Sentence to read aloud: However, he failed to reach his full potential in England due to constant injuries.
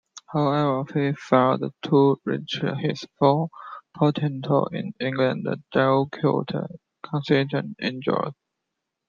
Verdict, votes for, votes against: rejected, 0, 2